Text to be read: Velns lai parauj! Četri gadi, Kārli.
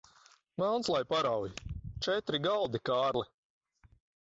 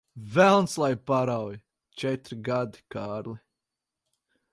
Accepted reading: second